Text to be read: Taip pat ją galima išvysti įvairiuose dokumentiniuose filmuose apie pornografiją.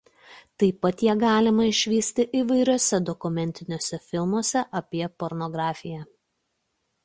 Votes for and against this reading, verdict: 2, 0, accepted